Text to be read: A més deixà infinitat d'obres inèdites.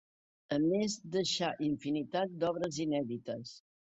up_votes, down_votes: 3, 0